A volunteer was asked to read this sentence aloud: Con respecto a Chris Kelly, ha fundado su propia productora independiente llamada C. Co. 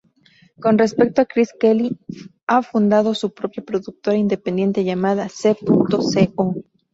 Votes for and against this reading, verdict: 0, 2, rejected